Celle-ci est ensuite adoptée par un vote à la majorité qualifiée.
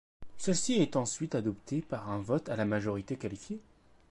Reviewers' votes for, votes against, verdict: 2, 1, accepted